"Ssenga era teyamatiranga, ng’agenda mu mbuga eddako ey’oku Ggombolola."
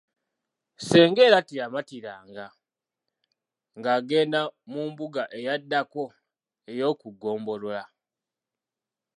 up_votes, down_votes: 0, 2